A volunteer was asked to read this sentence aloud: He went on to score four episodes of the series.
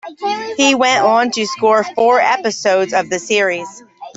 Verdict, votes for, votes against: rejected, 0, 2